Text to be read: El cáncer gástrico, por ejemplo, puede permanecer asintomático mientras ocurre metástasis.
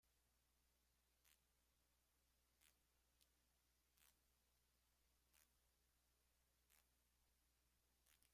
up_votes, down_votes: 0, 2